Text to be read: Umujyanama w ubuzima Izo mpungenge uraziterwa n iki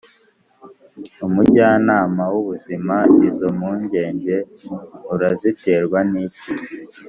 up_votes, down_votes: 2, 0